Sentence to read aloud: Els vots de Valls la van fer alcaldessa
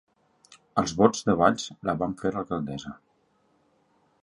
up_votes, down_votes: 2, 3